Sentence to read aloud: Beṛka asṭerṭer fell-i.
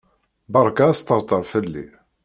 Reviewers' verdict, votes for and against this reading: accepted, 2, 0